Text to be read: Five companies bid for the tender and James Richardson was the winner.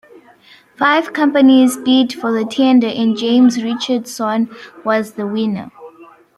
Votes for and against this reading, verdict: 2, 1, accepted